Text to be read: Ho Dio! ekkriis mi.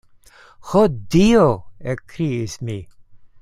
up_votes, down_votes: 2, 0